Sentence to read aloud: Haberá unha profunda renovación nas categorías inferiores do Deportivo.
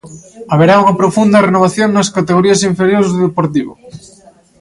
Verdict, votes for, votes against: rejected, 0, 2